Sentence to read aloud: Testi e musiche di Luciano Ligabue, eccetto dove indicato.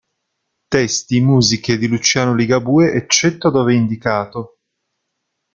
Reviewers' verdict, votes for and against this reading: accepted, 2, 0